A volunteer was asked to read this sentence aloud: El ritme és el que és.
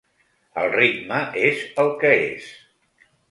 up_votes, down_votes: 3, 0